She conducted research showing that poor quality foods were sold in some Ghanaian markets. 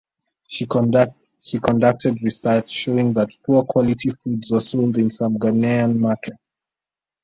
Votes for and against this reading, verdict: 0, 2, rejected